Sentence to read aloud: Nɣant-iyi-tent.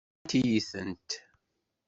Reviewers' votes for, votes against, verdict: 1, 2, rejected